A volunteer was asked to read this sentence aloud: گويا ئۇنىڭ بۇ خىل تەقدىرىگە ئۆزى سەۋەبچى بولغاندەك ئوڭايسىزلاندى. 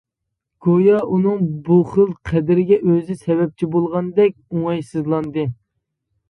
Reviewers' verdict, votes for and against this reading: rejected, 1, 2